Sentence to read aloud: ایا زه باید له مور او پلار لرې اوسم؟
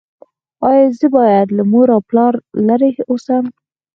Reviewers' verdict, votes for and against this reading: accepted, 4, 0